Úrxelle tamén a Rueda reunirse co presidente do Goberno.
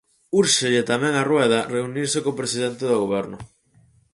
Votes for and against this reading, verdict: 4, 0, accepted